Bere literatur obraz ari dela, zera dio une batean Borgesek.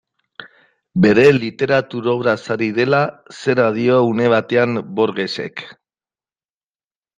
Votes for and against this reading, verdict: 2, 0, accepted